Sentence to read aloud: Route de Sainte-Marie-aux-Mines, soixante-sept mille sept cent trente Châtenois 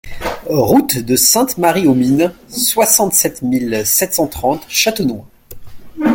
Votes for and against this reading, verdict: 2, 0, accepted